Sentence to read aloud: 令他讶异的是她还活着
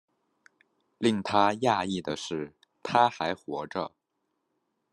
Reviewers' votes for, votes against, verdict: 2, 0, accepted